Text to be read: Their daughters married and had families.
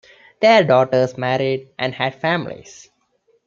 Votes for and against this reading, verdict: 2, 0, accepted